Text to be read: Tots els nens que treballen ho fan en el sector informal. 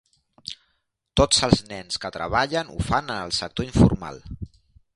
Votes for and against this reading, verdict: 2, 0, accepted